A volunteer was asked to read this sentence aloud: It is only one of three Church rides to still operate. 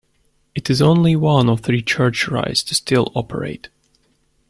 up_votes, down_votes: 2, 1